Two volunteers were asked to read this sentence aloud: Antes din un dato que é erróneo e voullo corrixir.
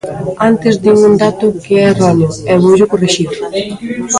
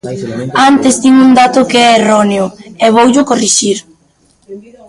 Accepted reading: first